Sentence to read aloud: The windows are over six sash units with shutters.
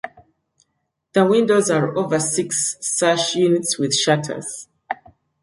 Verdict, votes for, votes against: accepted, 2, 0